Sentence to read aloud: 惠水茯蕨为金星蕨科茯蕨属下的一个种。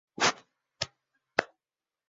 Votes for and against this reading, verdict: 1, 2, rejected